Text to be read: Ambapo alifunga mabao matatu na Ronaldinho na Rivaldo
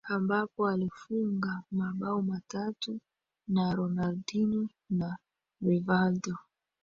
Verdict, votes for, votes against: accepted, 2, 1